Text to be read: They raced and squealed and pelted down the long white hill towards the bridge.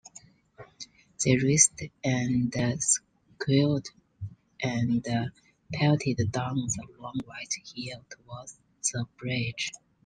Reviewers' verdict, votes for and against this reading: accepted, 2, 1